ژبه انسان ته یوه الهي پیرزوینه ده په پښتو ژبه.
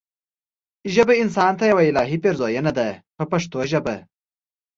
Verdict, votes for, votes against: accepted, 2, 0